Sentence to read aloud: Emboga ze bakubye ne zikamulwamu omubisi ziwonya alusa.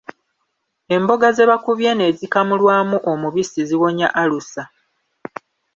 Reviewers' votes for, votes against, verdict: 2, 0, accepted